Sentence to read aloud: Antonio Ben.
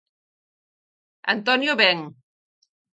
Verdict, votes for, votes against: accepted, 4, 0